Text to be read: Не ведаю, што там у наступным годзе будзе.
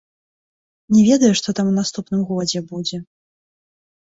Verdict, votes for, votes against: rejected, 1, 2